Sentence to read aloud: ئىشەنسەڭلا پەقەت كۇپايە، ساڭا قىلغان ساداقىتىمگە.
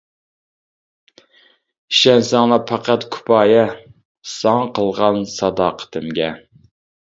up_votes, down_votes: 2, 0